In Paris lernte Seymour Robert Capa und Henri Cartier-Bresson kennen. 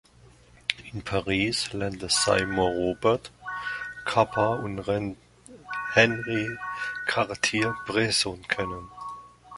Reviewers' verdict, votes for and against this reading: rejected, 0, 2